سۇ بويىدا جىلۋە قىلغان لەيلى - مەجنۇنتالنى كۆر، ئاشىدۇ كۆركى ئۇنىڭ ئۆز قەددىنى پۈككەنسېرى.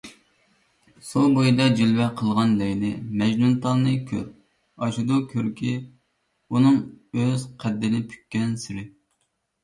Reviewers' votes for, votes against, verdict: 2, 0, accepted